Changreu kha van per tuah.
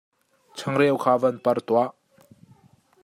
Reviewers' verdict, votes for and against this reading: accepted, 2, 1